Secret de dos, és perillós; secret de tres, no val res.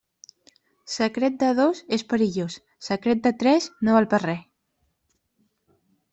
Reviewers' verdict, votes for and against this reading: rejected, 0, 2